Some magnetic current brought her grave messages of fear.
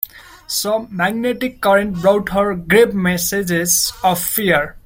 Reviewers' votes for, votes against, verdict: 2, 0, accepted